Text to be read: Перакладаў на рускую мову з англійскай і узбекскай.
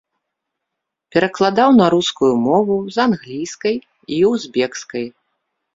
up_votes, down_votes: 3, 0